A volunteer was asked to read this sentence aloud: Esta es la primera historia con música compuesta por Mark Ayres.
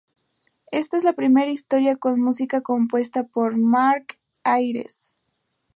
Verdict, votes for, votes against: rejected, 2, 2